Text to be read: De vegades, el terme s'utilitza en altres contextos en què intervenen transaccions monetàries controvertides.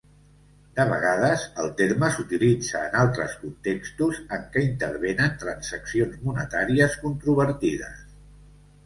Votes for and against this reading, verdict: 2, 0, accepted